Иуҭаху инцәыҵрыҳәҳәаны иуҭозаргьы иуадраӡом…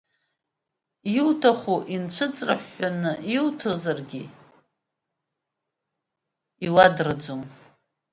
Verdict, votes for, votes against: rejected, 0, 2